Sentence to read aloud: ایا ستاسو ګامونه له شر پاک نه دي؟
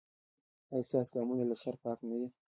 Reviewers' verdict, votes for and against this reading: accepted, 2, 0